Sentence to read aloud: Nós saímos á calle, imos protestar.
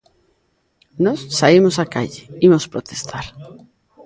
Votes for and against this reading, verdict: 0, 2, rejected